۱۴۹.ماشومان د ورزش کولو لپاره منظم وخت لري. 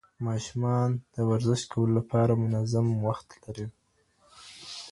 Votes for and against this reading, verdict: 0, 2, rejected